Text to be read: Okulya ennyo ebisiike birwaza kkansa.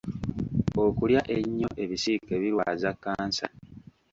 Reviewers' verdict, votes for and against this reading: rejected, 1, 2